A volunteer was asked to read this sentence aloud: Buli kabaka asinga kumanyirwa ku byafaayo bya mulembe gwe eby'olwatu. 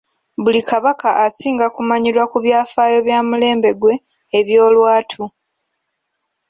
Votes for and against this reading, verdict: 3, 1, accepted